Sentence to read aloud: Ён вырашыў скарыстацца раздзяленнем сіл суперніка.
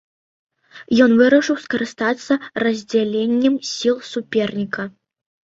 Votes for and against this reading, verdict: 2, 1, accepted